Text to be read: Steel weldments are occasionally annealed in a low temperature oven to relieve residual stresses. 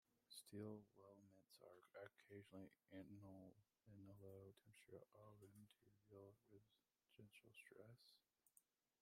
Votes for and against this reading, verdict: 1, 2, rejected